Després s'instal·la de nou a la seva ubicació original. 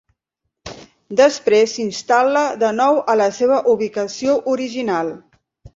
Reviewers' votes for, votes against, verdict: 5, 0, accepted